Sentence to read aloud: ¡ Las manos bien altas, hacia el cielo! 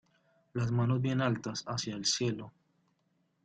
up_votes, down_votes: 0, 2